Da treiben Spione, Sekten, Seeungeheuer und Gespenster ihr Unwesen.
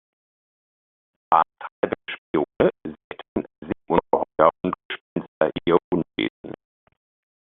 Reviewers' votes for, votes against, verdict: 0, 2, rejected